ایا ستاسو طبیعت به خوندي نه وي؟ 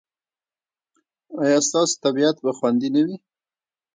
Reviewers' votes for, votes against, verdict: 2, 1, accepted